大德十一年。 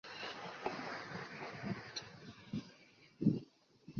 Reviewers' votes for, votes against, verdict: 1, 4, rejected